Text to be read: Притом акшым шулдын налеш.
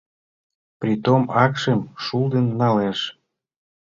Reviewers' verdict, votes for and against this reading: accepted, 2, 0